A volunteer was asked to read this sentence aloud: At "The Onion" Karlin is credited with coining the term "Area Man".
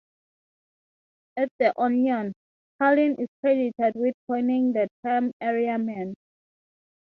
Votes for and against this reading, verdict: 3, 0, accepted